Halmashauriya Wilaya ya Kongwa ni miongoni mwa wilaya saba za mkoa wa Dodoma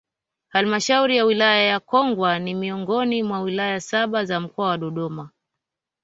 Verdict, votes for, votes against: rejected, 1, 2